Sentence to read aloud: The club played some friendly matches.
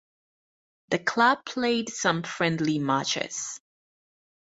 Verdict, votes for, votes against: accepted, 4, 0